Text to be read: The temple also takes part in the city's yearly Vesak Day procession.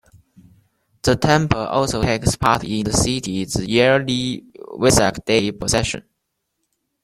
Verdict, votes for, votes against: rejected, 0, 2